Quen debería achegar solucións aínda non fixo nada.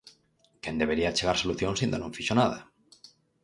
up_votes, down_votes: 4, 0